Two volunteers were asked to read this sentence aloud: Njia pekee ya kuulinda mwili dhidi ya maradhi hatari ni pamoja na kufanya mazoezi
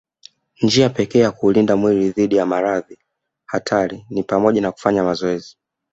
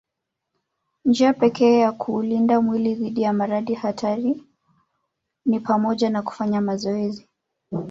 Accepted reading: first